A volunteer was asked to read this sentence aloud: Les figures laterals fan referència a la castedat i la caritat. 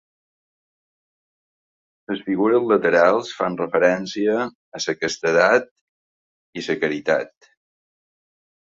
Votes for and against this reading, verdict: 0, 2, rejected